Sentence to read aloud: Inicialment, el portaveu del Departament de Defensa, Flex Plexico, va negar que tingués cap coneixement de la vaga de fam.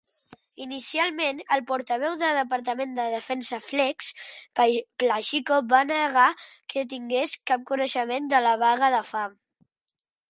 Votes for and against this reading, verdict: 0, 2, rejected